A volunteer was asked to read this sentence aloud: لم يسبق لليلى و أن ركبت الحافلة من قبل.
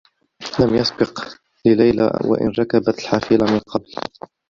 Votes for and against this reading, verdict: 0, 2, rejected